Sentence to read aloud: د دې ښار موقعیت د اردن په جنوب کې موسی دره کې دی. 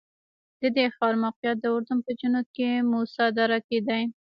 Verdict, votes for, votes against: accepted, 2, 1